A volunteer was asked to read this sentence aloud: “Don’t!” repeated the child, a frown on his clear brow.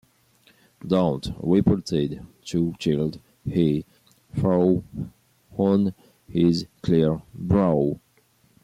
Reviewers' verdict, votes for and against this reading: rejected, 1, 2